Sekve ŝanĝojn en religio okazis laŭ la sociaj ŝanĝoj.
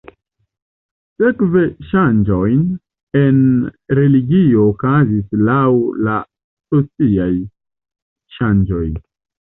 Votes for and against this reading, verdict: 2, 0, accepted